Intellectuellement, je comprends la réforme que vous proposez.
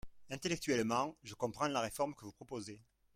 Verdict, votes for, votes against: accepted, 2, 1